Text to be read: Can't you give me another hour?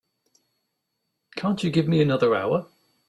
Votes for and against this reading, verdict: 2, 0, accepted